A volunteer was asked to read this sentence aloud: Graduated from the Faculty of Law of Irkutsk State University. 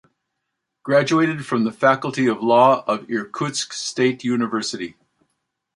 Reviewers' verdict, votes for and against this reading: accepted, 2, 0